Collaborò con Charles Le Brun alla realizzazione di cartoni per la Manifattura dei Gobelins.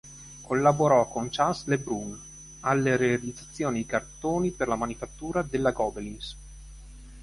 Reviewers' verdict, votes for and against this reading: rejected, 1, 2